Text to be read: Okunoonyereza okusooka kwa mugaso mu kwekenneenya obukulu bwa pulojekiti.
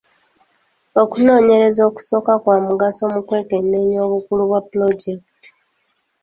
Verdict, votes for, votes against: accepted, 3, 1